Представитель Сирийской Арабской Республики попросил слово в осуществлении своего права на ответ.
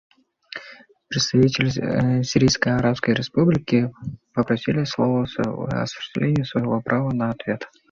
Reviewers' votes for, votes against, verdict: 1, 2, rejected